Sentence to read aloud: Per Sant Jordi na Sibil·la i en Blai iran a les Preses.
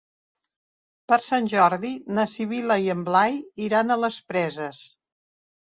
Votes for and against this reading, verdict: 2, 0, accepted